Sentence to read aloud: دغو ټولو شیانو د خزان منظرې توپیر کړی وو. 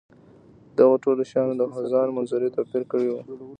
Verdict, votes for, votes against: accepted, 2, 1